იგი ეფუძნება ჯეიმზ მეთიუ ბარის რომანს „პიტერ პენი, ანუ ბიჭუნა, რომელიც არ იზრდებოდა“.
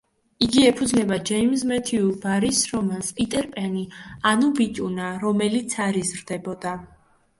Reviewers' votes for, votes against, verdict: 2, 0, accepted